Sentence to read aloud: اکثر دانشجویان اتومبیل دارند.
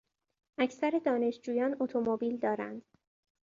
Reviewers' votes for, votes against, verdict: 2, 0, accepted